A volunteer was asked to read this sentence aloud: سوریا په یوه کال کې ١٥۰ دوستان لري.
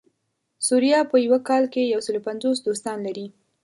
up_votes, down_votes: 0, 2